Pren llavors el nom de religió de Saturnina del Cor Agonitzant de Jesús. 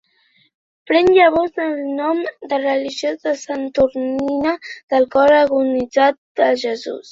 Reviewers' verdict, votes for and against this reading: rejected, 0, 2